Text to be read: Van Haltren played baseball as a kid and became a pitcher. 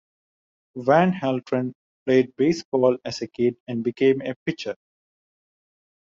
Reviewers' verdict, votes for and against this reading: accepted, 2, 0